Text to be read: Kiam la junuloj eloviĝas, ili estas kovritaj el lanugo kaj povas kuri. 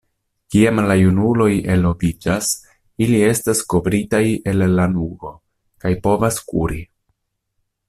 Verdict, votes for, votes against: rejected, 1, 2